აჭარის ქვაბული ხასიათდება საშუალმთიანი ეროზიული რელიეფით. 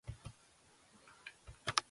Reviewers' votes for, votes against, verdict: 0, 3, rejected